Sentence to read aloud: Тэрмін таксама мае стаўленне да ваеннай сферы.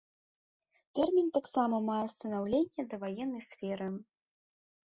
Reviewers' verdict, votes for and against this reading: rejected, 1, 2